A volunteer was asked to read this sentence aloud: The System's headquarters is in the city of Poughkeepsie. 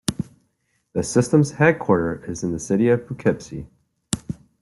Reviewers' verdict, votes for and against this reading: rejected, 0, 2